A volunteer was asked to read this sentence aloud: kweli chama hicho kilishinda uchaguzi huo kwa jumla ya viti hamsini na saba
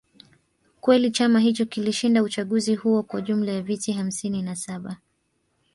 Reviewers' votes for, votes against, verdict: 2, 0, accepted